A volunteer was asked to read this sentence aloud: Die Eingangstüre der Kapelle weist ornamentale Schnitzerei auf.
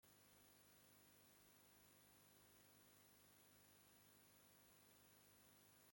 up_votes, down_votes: 0, 2